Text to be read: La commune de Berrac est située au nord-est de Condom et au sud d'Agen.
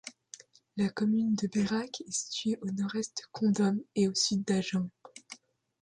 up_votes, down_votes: 2, 0